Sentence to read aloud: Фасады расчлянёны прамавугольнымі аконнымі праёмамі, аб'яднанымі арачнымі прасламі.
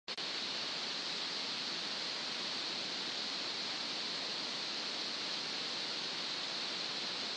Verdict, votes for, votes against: rejected, 0, 2